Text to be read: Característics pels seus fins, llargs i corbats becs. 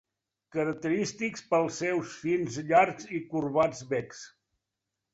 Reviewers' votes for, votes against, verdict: 2, 0, accepted